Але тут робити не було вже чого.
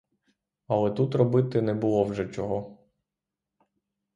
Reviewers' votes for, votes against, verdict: 3, 0, accepted